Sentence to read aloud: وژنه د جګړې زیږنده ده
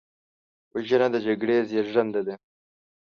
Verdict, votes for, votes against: accepted, 2, 0